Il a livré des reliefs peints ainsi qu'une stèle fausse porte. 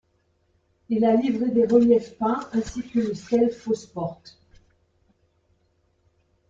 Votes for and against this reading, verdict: 2, 1, accepted